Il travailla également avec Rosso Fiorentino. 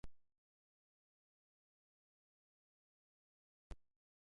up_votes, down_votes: 0, 2